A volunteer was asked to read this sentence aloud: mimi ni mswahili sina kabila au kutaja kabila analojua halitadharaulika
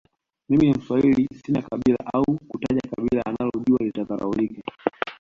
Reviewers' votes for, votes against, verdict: 0, 2, rejected